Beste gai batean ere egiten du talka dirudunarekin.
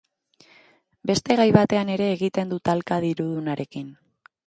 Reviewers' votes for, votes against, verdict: 2, 0, accepted